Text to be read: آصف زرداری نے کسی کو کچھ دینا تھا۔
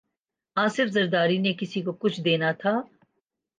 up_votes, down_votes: 2, 0